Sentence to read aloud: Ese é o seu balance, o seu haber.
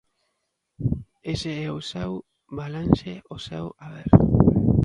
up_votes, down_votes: 2, 0